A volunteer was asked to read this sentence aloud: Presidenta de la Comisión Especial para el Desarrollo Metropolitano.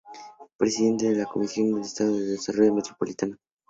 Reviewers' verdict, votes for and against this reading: rejected, 0, 2